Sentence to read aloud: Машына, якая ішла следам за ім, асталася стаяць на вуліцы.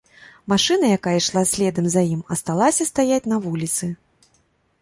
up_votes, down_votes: 2, 0